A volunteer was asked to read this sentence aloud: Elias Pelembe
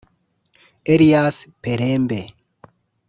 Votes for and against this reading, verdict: 0, 2, rejected